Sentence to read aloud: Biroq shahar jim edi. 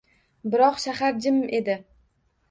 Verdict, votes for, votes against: accepted, 2, 0